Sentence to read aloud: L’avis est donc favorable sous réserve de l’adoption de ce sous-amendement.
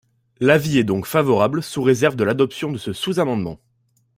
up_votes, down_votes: 2, 0